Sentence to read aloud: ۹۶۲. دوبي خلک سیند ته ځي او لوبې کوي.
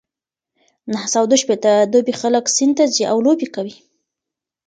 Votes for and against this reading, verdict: 0, 2, rejected